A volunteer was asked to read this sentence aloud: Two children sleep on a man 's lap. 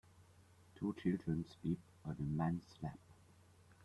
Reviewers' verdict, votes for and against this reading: rejected, 0, 2